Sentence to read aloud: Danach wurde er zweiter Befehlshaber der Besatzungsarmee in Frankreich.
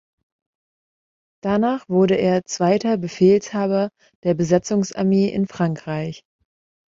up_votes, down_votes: 2, 1